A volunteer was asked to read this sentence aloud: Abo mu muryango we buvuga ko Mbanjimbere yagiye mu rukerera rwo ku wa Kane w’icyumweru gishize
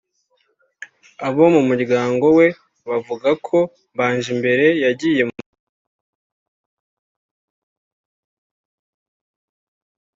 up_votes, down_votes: 0, 3